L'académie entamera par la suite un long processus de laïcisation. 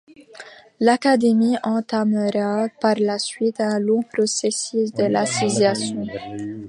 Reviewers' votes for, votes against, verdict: 0, 2, rejected